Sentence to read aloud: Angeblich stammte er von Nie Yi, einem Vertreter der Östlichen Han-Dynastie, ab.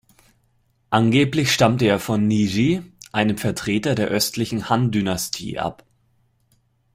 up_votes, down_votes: 2, 0